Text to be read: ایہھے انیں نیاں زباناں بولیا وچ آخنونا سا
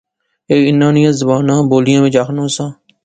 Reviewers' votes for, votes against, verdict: 3, 0, accepted